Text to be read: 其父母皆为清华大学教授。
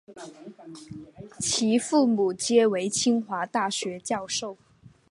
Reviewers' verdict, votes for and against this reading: accepted, 2, 0